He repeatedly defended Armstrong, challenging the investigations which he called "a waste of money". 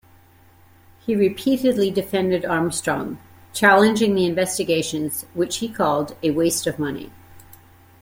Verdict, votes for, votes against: accepted, 2, 0